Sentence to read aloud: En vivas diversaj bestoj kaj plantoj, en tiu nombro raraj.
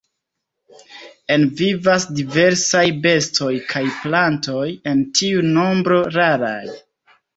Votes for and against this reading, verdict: 2, 0, accepted